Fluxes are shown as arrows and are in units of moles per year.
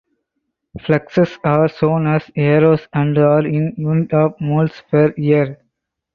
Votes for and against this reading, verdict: 4, 2, accepted